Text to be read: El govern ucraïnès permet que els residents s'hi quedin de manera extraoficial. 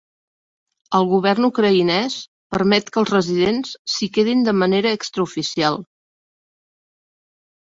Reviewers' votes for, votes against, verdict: 3, 0, accepted